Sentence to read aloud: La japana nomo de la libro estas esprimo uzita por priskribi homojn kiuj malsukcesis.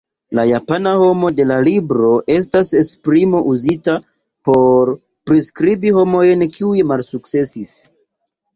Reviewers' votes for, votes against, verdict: 0, 2, rejected